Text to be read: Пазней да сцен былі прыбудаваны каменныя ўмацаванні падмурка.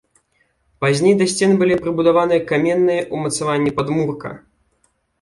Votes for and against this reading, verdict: 2, 0, accepted